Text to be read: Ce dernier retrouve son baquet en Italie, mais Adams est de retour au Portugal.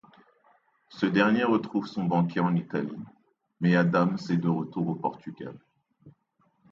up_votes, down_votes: 2, 0